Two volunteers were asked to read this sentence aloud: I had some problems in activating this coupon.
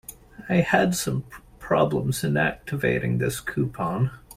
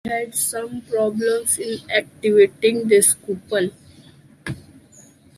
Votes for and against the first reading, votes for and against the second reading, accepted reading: 2, 1, 1, 2, first